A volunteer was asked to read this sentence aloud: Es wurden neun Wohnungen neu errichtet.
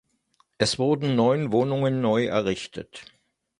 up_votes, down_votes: 2, 0